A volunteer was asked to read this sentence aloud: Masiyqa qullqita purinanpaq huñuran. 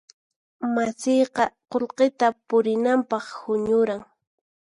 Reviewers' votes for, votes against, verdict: 4, 0, accepted